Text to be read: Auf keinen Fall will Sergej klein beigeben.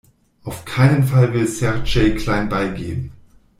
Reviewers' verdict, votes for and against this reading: rejected, 1, 2